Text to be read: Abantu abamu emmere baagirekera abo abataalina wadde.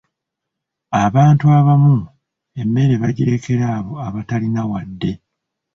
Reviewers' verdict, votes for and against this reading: rejected, 1, 2